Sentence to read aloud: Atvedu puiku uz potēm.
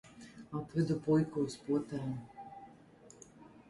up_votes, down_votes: 1, 2